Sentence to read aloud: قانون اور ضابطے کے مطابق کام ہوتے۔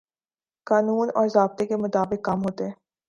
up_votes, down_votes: 2, 0